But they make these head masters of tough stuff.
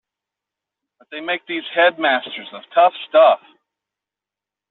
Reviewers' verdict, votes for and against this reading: rejected, 0, 2